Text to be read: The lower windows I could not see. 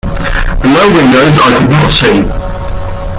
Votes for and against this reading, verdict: 2, 0, accepted